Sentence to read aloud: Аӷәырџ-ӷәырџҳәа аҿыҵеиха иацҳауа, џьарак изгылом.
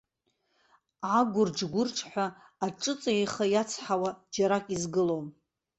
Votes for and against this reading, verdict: 0, 2, rejected